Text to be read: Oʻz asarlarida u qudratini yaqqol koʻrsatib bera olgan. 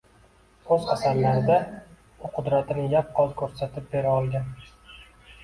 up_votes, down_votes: 0, 2